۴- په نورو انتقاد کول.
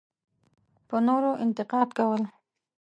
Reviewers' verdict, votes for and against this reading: rejected, 0, 2